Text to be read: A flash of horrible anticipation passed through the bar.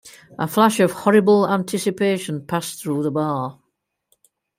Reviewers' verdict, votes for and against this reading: accepted, 2, 0